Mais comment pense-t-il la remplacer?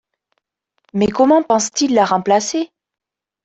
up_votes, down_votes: 0, 2